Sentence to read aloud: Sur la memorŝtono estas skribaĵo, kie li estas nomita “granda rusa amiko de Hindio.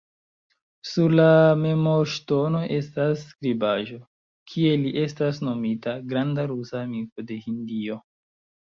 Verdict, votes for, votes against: rejected, 0, 2